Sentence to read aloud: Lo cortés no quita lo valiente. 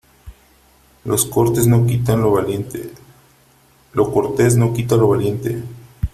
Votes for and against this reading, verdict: 0, 3, rejected